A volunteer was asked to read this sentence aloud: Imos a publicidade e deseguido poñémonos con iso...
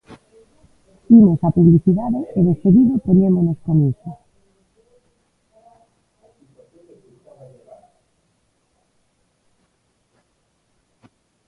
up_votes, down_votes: 0, 2